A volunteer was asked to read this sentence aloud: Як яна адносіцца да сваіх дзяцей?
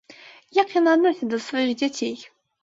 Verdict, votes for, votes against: rejected, 1, 2